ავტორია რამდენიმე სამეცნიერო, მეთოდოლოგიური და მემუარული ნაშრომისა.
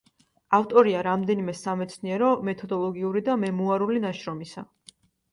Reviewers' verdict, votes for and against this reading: accepted, 2, 0